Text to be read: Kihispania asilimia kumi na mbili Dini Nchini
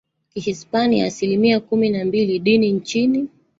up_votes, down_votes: 15, 1